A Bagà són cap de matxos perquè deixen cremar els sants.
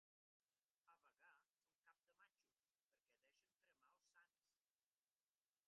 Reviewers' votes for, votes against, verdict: 3, 1, accepted